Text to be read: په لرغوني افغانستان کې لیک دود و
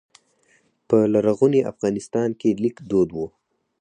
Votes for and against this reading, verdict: 4, 0, accepted